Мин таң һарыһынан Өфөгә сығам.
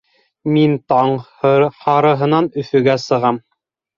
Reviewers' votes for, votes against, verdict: 1, 2, rejected